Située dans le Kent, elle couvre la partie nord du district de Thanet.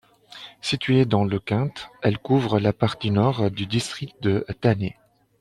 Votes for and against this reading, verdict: 2, 0, accepted